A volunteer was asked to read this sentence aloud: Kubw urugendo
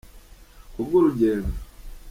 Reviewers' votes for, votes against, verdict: 2, 1, accepted